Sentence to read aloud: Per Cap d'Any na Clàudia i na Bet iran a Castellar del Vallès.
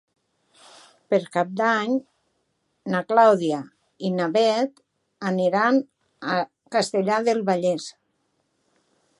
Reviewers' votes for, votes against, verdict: 0, 2, rejected